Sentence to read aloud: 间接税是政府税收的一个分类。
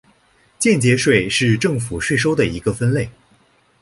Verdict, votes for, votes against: rejected, 1, 2